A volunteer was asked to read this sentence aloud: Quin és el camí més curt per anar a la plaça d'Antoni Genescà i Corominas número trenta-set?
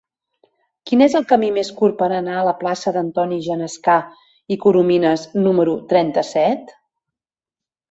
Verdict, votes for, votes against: accepted, 3, 0